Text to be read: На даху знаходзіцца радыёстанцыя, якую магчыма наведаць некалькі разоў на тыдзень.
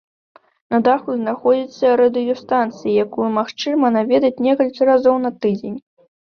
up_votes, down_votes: 2, 0